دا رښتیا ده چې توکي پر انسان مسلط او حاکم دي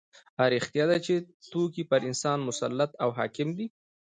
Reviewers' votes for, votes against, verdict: 2, 0, accepted